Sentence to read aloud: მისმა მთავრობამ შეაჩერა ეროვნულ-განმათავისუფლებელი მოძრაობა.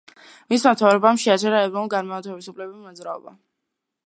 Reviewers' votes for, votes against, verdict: 1, 2, rejected